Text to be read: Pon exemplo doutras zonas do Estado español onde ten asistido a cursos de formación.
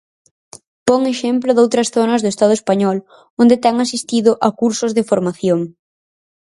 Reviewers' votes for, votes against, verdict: 4, 0, accepted